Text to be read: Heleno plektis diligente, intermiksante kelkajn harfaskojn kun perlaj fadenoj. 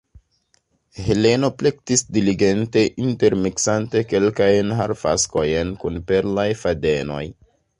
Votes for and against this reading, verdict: 2, 0, accepted